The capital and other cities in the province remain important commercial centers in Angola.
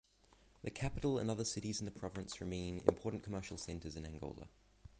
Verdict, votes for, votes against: rejected, 3, 3